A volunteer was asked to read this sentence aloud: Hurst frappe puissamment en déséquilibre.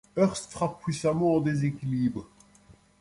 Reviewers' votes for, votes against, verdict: 2, 0, accepted